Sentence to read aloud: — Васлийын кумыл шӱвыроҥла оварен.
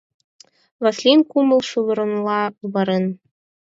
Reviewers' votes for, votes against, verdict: 4, 0, accepted